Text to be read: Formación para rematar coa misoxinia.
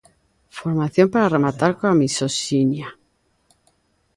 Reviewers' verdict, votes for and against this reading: accepted, 2, 0